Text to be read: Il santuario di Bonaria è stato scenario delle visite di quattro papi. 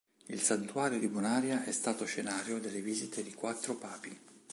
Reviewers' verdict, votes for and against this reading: accepted, 2, 0